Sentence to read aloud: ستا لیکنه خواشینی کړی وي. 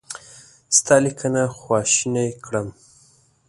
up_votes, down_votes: 0, 2